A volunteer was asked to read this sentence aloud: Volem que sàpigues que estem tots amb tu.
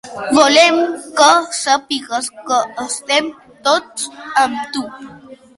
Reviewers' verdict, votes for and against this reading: accepted, 3, 1